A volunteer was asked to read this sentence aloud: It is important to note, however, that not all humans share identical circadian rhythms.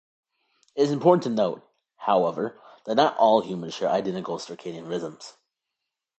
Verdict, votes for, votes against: accepted, 2, 0